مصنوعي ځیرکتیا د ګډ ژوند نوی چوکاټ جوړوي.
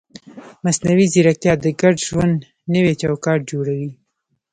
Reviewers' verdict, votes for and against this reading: rejected, 1, 2